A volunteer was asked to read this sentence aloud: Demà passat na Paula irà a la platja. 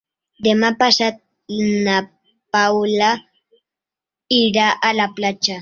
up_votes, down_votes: 4, 1